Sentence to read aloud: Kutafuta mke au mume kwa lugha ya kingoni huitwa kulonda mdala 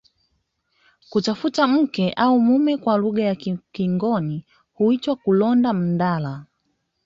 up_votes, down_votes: 1, 2